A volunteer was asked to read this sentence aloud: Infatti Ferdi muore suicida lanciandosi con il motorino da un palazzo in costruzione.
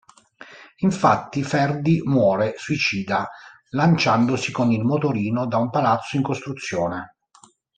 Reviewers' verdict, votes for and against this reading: accepted, 2, 0